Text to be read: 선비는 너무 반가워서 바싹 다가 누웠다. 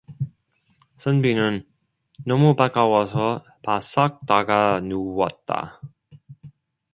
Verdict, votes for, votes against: rejected, 1, 2